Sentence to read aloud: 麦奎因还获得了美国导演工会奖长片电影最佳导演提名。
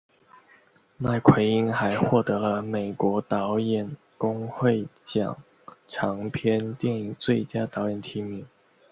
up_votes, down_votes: 2, 1